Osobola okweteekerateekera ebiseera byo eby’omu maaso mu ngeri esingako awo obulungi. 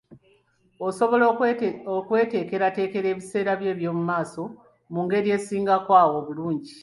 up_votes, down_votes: 2, 1